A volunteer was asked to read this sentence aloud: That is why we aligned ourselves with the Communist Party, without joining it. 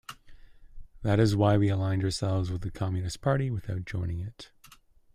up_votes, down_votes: 2, 0